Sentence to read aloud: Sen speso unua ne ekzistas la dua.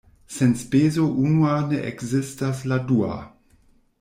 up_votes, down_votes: 1, 2